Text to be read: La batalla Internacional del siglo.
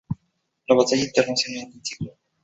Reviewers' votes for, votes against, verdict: 2, 0, accepted